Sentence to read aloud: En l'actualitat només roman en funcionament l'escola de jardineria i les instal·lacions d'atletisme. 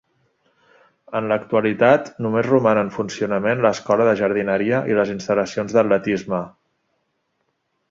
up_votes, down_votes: 2, 0